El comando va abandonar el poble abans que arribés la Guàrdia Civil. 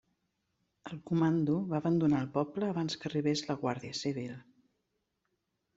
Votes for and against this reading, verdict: 3, 0, accepted